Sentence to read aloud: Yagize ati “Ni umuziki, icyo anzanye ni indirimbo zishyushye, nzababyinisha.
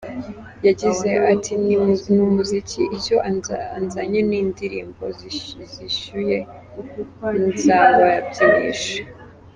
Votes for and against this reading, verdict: 0, 2, rejected